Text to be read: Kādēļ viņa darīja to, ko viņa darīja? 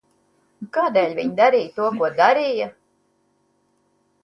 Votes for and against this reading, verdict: 0, 2, rejected